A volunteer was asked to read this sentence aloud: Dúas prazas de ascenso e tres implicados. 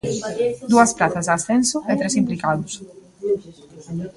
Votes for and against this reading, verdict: 2, 0, accepted